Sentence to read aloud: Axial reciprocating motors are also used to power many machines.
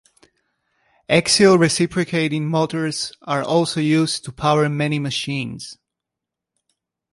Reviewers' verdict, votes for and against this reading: accepted, 3, 0